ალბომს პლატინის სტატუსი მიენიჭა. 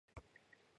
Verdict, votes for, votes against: rejected, 1, 2